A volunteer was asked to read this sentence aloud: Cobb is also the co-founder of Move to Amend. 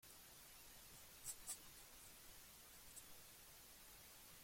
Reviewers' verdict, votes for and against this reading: rejected, 0, 2